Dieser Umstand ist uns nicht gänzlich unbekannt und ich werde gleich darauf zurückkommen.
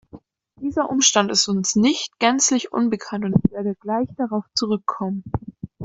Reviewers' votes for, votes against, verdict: 1, 2, rejected